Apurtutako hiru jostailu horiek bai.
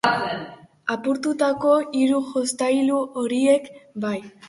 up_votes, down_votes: 2, 0